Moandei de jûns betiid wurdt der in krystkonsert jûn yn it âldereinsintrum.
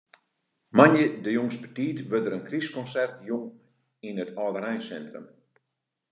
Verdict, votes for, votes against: accepted, 2, 0